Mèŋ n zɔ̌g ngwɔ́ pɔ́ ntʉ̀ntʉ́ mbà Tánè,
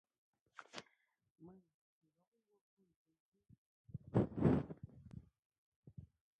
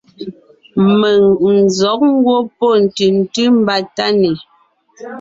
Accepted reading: second